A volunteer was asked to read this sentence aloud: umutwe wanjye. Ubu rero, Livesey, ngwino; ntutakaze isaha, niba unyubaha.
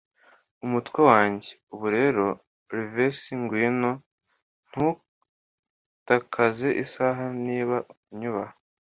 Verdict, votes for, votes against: accepted, 2, 0